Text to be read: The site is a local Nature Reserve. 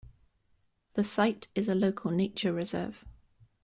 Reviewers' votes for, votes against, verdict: 2, 0, accepted